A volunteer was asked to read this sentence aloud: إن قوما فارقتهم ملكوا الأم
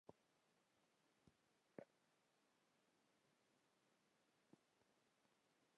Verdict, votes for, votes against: rejected, 1, 2